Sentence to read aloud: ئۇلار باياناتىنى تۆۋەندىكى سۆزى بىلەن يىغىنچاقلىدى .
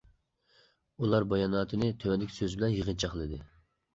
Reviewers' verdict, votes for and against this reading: accepted, 2, 0